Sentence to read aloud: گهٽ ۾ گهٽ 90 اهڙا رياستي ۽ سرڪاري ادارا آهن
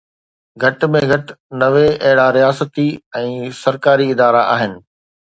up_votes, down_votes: 0, 2